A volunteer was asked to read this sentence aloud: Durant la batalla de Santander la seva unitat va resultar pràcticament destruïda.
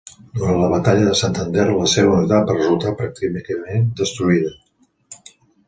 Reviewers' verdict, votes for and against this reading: accepted, 2, 1